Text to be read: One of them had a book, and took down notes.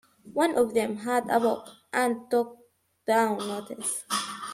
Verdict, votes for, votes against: rejected, 1, 2